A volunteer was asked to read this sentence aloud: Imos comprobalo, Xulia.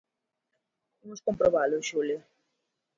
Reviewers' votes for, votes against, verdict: 2, 1, accepted